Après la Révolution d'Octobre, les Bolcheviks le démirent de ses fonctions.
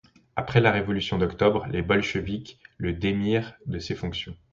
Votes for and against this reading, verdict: 2, 0, accepted